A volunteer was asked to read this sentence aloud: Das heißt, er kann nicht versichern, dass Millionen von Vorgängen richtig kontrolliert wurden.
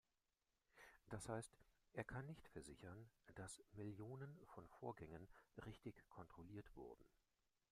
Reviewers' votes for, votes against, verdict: 0, 2, rejected